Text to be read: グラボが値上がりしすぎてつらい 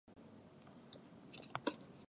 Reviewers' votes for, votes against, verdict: 2, 19, rejected